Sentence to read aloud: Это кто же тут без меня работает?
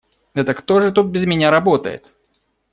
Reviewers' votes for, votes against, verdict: 2, 0, accepted